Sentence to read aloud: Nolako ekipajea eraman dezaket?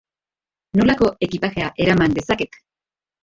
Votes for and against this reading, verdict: 0, 2, rejected